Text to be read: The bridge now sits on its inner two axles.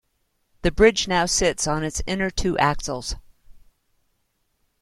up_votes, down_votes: 2, 0